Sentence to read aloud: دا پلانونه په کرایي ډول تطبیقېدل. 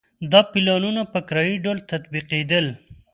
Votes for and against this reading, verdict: 2, 0, accepted